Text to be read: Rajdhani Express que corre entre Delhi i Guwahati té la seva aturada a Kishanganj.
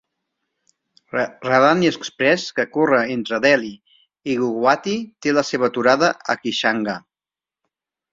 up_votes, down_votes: 1, 3